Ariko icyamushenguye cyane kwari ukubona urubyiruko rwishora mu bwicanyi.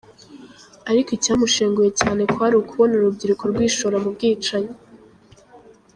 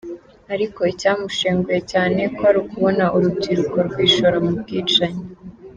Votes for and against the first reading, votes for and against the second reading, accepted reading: 1, 2, 3, 1, second